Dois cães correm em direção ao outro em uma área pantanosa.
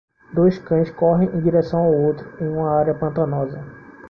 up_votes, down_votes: 2, 0